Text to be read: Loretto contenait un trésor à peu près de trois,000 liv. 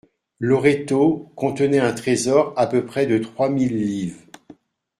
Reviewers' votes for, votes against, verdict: 0, 2, rejected